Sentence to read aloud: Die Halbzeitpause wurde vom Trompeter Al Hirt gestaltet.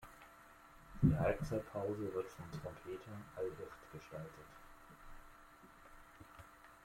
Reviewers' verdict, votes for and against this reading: rejected, 0, 2